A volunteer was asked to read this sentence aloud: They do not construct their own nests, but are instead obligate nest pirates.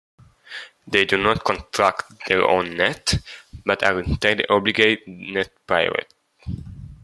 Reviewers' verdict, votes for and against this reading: rejected, 1, 2